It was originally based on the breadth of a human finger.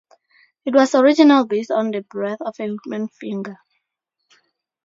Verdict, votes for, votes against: rejected, 0, 2